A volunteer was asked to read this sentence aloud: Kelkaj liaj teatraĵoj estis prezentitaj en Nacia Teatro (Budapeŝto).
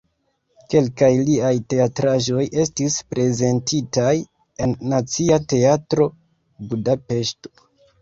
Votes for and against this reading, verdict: 1, 2, rejected